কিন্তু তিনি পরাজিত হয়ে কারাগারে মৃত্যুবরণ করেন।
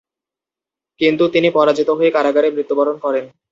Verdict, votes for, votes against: accepted, 2, 0